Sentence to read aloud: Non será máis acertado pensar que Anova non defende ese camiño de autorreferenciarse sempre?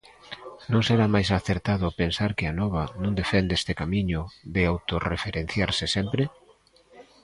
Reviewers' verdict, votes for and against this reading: rejected, 0, 2